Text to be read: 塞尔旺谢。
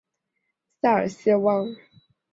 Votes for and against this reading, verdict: 0, 2, rejected